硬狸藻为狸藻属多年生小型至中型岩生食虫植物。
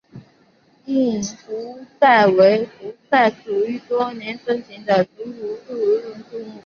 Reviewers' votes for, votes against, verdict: 0, 2, rejected